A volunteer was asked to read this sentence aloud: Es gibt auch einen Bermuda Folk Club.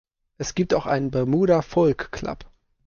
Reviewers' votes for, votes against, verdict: 2, 0, accepted